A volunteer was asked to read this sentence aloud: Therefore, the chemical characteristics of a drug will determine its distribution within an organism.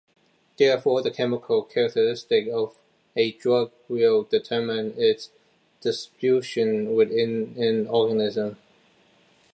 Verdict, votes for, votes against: rejected, 1, 2